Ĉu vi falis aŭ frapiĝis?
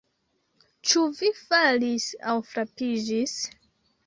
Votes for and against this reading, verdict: 3, 1, accepted